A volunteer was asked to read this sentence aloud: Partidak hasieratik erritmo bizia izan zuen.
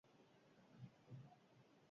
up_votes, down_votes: 0, 2